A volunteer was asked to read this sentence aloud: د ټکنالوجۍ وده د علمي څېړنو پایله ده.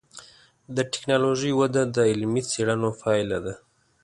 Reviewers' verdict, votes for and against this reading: accepted, 2, 0